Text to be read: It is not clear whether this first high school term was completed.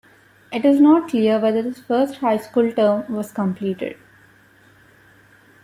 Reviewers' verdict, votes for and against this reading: rejected, 1, 2